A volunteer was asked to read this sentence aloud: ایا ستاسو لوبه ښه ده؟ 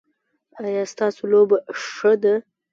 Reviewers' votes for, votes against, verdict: 0, 2, rejected